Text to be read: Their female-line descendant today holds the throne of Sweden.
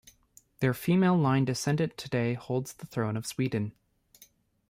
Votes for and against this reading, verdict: 1, 2, rejected